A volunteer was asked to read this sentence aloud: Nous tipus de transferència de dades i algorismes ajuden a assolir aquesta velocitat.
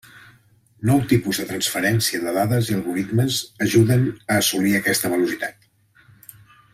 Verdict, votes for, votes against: rejected, 0, 2